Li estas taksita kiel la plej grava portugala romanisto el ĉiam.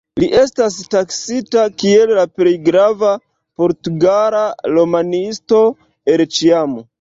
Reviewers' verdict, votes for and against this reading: accepted, 2, 0